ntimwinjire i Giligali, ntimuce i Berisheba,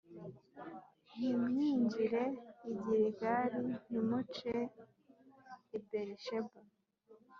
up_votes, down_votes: 2, 0